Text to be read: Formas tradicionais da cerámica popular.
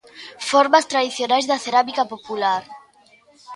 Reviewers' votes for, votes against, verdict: 2, 0, accepted